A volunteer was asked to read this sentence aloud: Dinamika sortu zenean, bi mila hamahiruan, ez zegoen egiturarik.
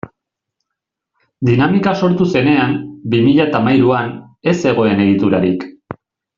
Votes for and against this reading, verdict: 2, 0, accepted